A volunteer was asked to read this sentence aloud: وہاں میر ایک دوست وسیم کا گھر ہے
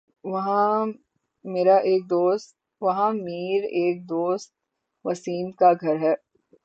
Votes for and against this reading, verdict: 12, 18, rejected